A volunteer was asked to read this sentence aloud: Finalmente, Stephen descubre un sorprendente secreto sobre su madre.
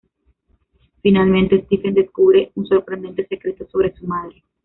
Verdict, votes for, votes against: rejected, 1, 2